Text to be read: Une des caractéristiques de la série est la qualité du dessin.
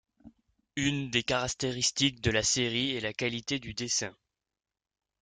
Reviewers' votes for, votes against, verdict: 1, 2, rejected